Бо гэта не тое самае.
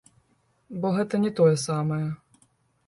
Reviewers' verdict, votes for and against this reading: rejected, 1, 2